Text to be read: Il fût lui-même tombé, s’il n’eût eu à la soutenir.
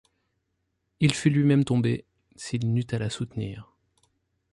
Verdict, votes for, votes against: rejected, 2, 3